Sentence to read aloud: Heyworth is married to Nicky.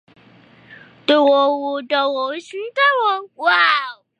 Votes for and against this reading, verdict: 0, 2, rejected